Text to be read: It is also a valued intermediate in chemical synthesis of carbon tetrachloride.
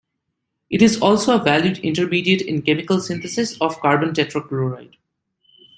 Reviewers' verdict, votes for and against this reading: accepted, 2, 0